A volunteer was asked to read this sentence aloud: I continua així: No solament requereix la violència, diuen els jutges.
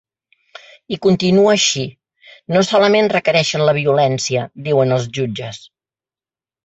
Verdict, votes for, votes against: rejected, 1, 2